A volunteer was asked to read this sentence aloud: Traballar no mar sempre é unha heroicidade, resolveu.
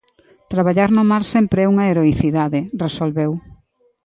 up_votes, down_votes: 2, 0